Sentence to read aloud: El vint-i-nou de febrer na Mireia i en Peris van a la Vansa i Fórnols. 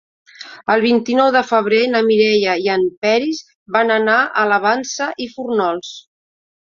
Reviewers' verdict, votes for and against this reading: rejected, 1, 2